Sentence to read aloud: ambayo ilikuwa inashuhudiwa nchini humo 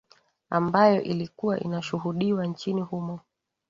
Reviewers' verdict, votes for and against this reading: accepted, 2, 0